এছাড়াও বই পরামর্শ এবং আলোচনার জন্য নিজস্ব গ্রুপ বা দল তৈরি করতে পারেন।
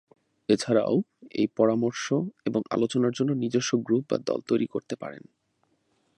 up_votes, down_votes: 1, 2